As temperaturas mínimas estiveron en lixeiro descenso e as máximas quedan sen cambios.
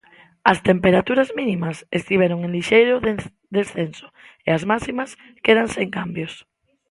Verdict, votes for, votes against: rejected, 0, 2